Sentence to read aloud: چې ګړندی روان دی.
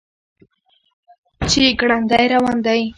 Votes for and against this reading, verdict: 3, 0, accepted